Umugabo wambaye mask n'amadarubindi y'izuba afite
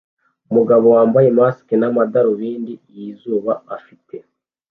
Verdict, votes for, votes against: accepted, 2, 0